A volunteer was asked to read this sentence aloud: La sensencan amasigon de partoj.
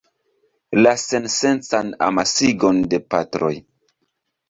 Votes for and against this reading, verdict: 2, 3, rejected